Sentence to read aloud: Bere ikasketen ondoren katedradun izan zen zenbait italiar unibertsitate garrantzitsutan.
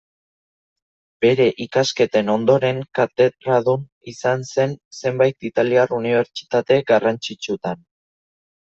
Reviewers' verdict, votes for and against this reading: accepted, 2, 0